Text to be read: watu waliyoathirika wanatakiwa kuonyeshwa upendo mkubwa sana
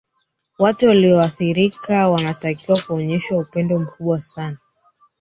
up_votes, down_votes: 2, 3